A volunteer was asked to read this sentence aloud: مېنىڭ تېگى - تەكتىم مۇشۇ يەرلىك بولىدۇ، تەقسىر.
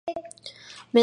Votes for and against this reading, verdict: 0, 2, rejected